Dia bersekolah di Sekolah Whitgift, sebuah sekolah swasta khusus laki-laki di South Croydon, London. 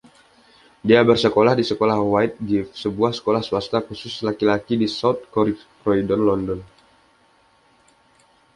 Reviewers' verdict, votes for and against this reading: accepted, 2, 0